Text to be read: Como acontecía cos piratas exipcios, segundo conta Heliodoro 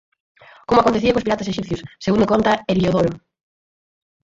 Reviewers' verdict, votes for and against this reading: rejected, 0, 4